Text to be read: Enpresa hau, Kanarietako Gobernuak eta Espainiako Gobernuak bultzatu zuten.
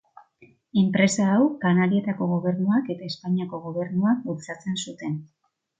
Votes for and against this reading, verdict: 0, 2, rejected